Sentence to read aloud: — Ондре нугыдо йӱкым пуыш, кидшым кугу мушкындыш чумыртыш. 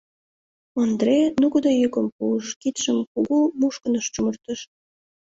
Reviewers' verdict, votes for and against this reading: accepted, 2, 0